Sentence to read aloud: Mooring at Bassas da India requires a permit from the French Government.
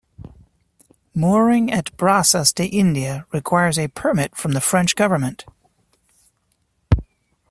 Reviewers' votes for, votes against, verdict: 0, 2, rejected